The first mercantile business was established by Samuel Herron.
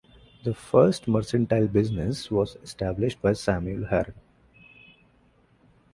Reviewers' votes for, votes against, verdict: 1, 2, rejected